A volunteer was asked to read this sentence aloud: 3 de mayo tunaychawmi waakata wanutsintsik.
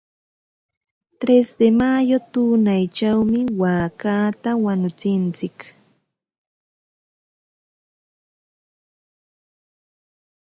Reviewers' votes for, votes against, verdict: 0, 2, rejected